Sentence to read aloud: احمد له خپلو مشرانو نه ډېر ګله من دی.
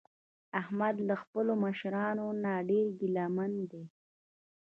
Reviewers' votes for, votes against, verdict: 0, 2, rejected